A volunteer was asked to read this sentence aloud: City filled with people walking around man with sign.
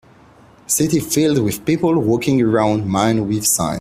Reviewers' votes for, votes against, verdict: 2, 0, accepted